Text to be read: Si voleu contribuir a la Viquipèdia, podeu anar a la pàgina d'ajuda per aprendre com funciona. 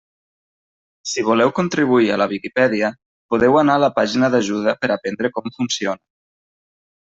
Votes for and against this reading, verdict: 0, 2, rejected